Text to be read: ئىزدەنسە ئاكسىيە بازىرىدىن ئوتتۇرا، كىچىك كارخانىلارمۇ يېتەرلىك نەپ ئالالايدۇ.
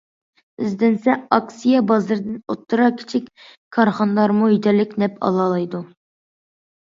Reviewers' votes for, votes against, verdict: 2, 0, accepted